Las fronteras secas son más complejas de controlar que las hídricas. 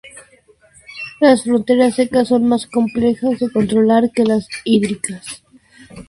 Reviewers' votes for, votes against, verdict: 4, 0, accepted